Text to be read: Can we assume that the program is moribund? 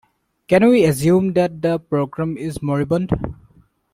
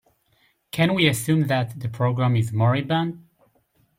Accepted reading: second